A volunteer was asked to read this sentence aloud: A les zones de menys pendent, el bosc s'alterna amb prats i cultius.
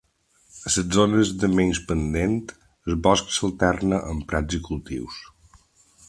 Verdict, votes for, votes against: rejected, 0, 2